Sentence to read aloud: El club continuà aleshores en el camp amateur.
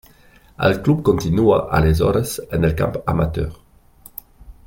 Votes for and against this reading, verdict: 1, 2, rejected